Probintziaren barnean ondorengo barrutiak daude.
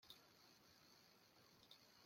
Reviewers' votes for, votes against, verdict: 0, 2, rejected